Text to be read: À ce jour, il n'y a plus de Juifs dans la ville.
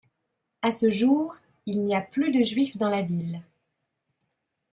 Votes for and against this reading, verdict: 2, 0, accepted